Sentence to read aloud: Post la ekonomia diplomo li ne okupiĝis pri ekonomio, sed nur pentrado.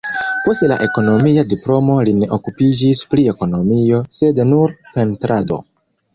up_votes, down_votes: 1, 2